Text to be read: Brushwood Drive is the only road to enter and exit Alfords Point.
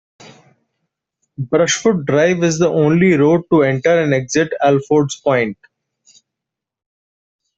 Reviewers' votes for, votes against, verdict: 2, 1, accepted